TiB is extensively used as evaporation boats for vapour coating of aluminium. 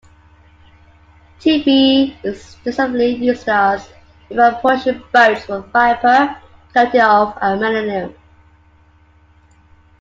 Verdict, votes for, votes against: accepted, 2, 1